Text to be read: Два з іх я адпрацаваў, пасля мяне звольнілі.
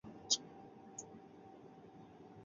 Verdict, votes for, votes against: rejected, 0, 2